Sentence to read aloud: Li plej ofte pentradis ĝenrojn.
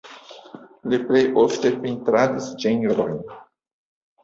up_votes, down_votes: 0, 2